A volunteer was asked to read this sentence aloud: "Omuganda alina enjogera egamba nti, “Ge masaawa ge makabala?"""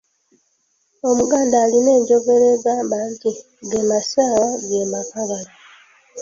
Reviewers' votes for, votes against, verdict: 0, 2, rejected